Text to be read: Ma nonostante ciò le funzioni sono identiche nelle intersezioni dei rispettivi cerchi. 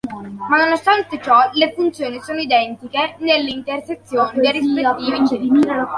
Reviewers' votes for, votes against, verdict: 2, 0, accepted